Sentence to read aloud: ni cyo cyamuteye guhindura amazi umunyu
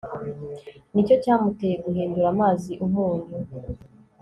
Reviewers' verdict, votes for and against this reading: accepted, 3, 0